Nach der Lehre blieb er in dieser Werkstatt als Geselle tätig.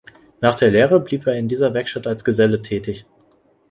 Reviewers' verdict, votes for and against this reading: accepted, 2, 0